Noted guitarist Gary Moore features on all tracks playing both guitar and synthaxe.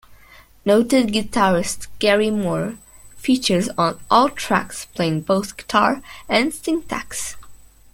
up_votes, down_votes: 3, 0